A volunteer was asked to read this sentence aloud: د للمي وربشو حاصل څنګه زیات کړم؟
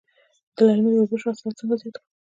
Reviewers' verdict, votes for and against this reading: rejected, 0, 2